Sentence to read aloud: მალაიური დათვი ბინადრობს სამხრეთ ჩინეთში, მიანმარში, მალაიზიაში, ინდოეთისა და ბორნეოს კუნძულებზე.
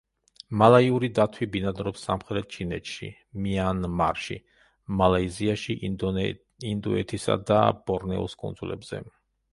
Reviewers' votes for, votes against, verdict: 0, 2, rejected